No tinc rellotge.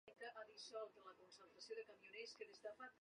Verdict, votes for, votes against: rejected, 0, 2